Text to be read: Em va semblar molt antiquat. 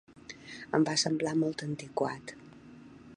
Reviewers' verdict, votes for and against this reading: accepted, 3, 0